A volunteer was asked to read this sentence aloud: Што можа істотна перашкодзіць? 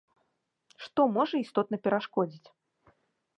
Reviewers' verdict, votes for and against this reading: accepted, 2, 0